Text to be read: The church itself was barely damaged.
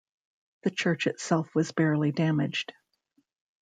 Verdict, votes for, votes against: accepted, 2, 0